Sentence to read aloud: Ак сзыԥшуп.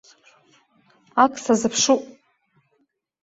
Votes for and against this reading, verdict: 0, 2, rejected